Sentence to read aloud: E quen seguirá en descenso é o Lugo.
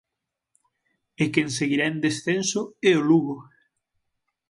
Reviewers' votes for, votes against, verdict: 6, 0, accepted